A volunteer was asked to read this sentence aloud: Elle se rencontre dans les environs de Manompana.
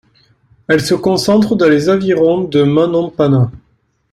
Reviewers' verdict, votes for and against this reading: rejected, 0, 2